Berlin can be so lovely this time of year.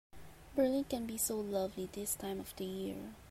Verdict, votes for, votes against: rejected, 2, 3